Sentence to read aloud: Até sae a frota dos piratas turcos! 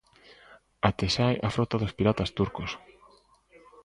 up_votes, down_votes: 2, 1